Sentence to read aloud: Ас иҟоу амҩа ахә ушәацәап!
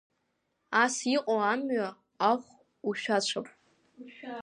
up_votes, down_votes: 2, 0